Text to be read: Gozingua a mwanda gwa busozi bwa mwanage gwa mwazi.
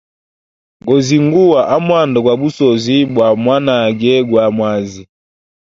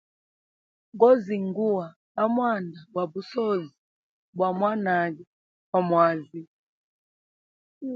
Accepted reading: second